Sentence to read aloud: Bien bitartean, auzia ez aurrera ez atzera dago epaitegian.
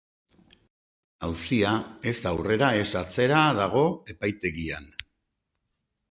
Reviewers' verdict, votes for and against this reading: rejected, 0, 2